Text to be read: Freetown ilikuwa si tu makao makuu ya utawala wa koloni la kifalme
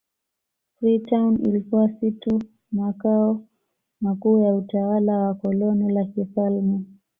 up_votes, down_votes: 2, 0